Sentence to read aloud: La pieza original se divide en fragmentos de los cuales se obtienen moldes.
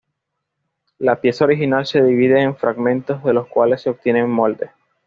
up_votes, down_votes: 2, 0